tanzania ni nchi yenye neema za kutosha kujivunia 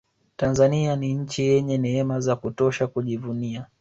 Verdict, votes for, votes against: accepted, 2, 0